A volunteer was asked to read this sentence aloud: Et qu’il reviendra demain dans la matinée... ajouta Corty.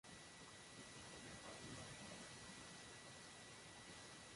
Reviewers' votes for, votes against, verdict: 0, 2, rejected